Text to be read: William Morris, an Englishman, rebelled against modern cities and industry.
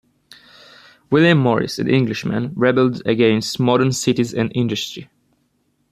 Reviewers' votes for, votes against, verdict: 1, 2, rejected